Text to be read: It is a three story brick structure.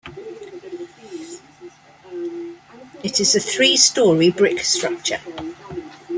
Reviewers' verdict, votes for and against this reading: accepted, 2, 1